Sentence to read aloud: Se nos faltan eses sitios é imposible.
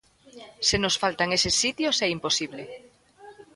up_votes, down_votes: 2, 1